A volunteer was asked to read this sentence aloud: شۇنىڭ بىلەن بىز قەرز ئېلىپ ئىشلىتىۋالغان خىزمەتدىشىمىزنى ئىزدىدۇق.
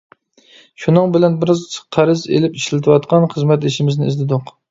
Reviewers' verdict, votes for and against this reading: rejected, 0, 2